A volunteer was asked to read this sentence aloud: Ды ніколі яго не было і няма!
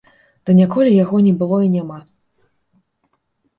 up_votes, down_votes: 3, 0